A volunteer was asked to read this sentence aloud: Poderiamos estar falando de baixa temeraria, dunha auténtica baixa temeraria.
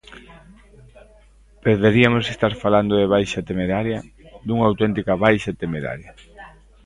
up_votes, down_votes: 0, 2